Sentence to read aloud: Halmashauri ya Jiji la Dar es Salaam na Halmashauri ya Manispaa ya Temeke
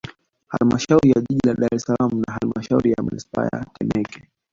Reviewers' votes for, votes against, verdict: 1, 2, rejected